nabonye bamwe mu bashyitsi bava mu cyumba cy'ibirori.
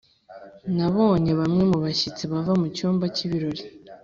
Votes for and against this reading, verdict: 4, 0, accepted